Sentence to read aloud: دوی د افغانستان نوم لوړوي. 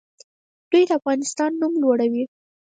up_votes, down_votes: 2, 4